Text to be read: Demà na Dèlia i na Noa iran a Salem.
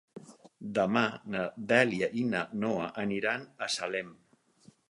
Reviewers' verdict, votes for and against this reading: rejected, 2, 4